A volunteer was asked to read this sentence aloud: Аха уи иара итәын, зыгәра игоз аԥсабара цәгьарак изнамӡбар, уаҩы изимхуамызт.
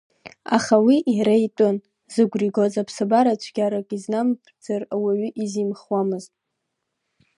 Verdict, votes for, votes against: rejected, 1, 2